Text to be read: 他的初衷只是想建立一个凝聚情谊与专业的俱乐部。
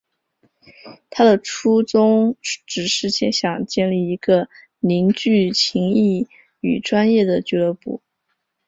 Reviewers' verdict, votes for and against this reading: rejected, 0, 2